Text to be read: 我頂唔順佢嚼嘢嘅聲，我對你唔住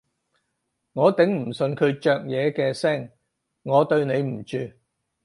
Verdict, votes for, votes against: accepted, 4, 0